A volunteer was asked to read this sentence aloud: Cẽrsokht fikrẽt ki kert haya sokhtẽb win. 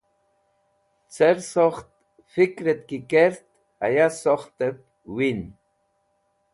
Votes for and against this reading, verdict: 2, 0, accepted